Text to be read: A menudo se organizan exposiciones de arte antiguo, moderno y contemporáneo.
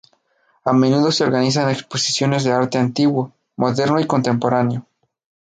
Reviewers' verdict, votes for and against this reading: accepted, 2, 0